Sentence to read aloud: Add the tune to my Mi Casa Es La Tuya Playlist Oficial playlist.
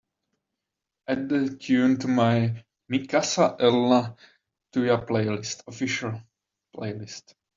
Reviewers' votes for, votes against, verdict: 0, 2, rejected